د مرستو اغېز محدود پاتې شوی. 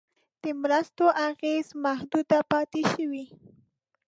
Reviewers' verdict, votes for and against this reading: rejected, 0, 2